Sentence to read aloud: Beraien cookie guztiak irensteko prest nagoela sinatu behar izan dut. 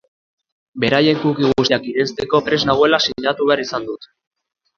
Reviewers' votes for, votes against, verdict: 0, 2, rejected